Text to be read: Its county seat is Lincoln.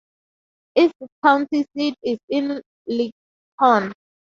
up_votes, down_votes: 0, 2